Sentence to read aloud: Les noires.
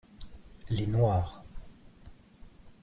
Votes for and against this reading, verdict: 2, 0, accepted